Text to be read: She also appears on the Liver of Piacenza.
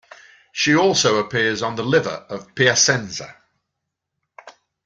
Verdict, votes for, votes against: accepted, 2, 0